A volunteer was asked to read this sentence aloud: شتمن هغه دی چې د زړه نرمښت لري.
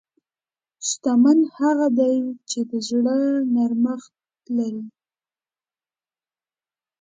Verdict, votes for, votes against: accepted, 2, 0